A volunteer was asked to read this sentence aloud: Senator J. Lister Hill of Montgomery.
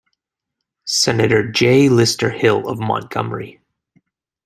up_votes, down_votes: 2, 0